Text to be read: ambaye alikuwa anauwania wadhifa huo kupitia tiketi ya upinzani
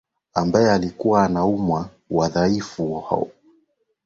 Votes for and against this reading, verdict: 0, 2, rejected